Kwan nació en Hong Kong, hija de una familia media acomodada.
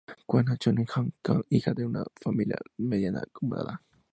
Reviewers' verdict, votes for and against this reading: rejected, 0, 2